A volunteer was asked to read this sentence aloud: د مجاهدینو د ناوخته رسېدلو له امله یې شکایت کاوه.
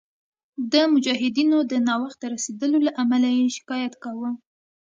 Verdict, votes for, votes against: accepted, 2, 0